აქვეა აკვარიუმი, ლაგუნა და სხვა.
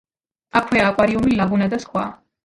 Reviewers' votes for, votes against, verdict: 0, 2, rejected